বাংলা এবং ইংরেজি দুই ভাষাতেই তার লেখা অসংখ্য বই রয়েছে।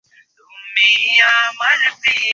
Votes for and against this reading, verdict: 0, 2, rejected